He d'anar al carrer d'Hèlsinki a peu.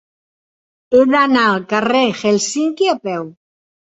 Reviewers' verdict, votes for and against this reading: accepted, 2, 0